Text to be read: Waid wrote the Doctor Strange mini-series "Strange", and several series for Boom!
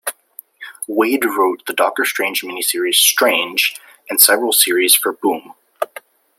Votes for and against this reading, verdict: 2, 0, accepted